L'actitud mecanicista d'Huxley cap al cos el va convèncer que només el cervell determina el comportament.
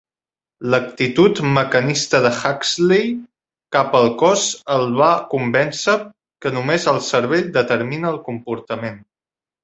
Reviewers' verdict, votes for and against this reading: rejected, 0, 3